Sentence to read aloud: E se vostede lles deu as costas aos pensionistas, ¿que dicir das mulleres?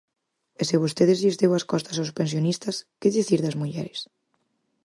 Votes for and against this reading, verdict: 4, 2, accepted